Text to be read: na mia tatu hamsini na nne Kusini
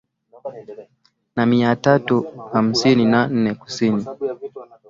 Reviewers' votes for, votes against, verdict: 6, 0, accepted